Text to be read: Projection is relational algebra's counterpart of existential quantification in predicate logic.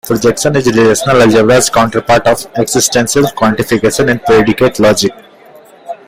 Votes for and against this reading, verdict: 0, 2, rejected